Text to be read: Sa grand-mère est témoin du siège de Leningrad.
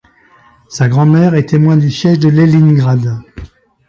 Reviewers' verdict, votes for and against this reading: rejected, 1, 2